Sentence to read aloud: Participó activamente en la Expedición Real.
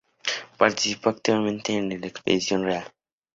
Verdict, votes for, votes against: rejected, 0, 2